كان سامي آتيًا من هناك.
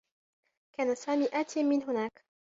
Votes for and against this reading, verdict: 1, 2, rejected